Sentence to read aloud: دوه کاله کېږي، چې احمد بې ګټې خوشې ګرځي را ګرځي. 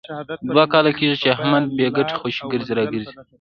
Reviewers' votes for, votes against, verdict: 1, 2, rejected